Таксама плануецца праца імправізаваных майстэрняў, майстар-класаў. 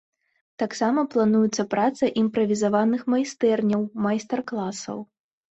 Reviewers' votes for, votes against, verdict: 2, 0, accepted